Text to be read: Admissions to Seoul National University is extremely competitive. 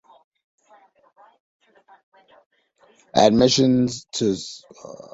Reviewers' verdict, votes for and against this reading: rejected, 1, 2